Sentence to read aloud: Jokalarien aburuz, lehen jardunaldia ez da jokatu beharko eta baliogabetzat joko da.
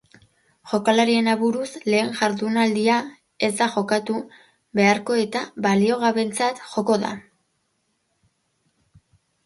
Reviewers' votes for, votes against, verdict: 1, 2, rejected